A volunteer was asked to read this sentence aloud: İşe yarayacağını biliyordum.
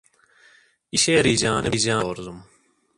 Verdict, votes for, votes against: rejected, 0, 2